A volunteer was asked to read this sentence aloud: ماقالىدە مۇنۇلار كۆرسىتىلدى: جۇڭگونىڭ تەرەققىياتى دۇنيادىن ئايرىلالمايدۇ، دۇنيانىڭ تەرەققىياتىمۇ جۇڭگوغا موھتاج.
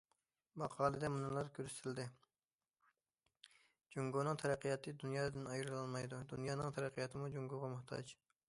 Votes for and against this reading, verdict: 2, 0, accepted